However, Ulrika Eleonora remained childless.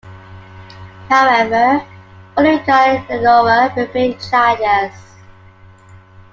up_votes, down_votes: 1, 2